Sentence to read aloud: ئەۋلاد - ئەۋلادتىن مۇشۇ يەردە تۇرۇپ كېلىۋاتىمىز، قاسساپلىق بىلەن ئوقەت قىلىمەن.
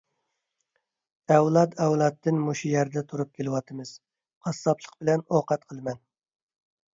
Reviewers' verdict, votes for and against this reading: accepted, 2, 0